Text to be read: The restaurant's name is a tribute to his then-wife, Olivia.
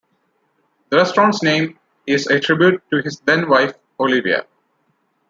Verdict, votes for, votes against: accepted, 2, 0